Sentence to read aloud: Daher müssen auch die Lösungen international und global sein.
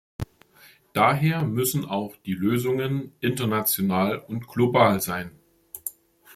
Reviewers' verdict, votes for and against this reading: accepted, 2, 0